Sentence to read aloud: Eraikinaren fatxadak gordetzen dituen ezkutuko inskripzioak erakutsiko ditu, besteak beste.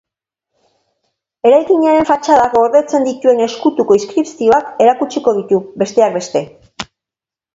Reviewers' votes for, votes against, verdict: 2, 0, accepted